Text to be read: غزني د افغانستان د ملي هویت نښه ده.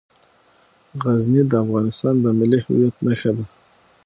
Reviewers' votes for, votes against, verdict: 6, 0, accepted